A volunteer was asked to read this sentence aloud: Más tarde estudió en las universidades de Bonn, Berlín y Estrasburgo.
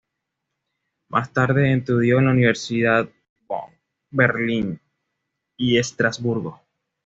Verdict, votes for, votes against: rejected, 1, 2